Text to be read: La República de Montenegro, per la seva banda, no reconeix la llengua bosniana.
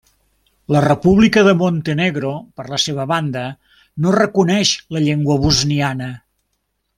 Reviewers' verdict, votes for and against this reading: accepted, 3, 0